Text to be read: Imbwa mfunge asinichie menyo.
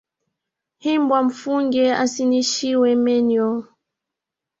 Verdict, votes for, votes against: rejected, 1, 2